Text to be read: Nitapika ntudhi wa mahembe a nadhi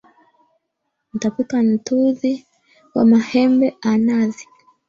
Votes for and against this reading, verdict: 2, 1, accepted